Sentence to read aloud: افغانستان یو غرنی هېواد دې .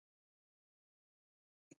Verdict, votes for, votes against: rejected, 0, 2